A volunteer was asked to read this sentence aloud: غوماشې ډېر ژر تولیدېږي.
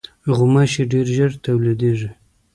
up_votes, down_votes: 1, 2